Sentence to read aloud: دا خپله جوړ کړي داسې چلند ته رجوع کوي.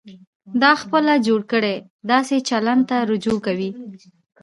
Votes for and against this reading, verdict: 2, 0, accepted